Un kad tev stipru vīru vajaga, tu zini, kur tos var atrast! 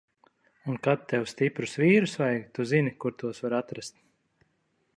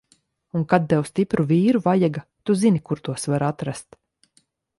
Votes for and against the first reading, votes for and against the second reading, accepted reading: 0, 2, 3, 0, second